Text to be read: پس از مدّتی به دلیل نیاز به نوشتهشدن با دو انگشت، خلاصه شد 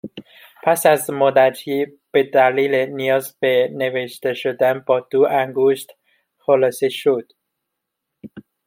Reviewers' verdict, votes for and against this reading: accepted, 2, 1